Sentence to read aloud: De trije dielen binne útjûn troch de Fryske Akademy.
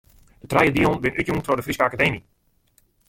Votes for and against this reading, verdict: 1, 2, rejected